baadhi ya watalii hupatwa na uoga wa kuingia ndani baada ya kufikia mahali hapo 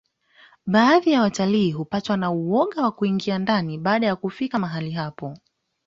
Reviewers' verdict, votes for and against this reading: accepted, 2, 0